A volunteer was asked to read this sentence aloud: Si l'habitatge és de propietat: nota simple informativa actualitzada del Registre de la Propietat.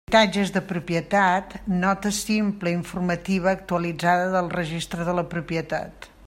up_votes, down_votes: 0, 2